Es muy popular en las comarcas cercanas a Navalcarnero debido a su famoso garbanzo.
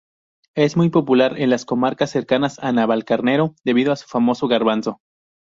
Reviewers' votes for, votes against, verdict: 0, 2, rejected